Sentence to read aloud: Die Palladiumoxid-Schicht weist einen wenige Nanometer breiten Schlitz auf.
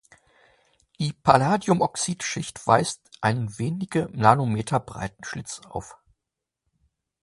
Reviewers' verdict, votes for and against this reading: accepted, 2, 1